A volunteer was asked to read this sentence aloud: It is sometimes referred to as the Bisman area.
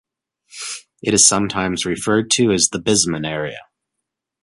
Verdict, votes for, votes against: accepted, 2, 0